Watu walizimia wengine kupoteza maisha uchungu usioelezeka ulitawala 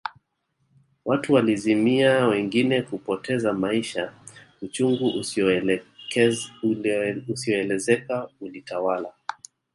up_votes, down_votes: 0, 2